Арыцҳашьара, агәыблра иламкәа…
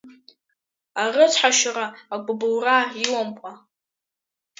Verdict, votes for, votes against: rejected, 0, 2